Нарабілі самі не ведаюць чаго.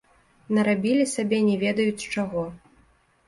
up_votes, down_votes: 1, 2